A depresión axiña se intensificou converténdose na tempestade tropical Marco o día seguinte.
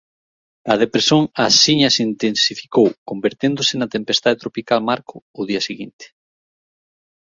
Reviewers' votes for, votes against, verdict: 1, 2, rejected